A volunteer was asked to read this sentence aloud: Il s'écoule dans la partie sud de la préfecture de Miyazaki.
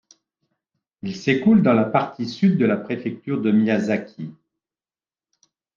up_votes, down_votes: 2, 0